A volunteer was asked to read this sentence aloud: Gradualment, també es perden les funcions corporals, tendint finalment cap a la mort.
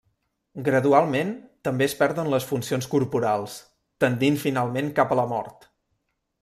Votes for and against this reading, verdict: 3, 0, accepted